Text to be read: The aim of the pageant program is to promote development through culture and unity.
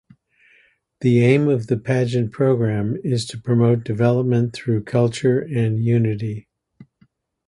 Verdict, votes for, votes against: accepted, 2, 0